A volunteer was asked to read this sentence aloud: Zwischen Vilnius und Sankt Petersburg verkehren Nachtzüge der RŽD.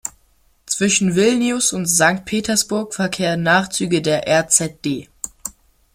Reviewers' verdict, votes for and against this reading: accepted, 2, 0